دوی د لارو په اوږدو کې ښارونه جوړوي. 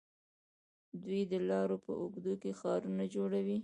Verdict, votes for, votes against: rejected, 0, 2